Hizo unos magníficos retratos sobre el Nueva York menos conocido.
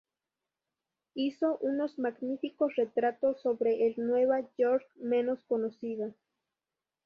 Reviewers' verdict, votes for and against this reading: accepted, 2, 0